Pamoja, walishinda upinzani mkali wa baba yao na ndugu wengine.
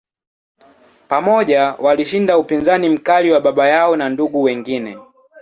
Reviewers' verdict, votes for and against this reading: accepted, 8, 2